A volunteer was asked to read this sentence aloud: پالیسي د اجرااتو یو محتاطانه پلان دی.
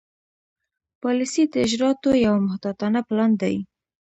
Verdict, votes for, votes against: accepted, 2, 0